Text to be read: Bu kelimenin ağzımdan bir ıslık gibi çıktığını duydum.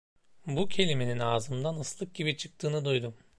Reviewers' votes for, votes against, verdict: 0, 2, rejected